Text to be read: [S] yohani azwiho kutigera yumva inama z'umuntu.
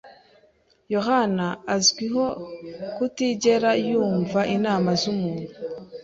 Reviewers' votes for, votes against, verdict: 2, 1, accepted